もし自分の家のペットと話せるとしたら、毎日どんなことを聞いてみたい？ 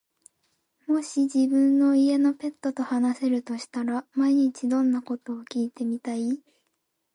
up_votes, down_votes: 3, 1